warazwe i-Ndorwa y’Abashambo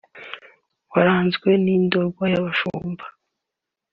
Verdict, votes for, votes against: rejected, 0, 2